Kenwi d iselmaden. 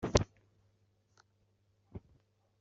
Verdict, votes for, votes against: rejected, 1, 2